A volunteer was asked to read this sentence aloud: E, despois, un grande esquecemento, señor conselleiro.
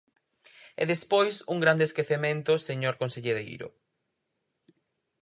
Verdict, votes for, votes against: accepted, 4, 2